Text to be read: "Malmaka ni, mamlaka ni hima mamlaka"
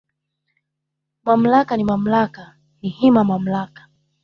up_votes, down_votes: 3, 1